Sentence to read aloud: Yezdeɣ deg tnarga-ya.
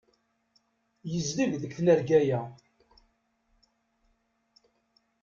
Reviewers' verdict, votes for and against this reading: rejected, 0, 2